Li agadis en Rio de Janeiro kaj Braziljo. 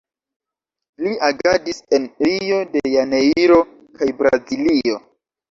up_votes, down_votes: 2, 0